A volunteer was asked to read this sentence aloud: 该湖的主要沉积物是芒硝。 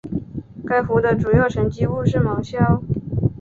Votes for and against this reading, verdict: 2, 0, accepted